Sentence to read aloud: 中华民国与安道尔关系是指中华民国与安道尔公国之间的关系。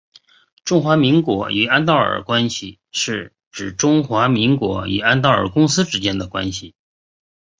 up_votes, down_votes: 3, 0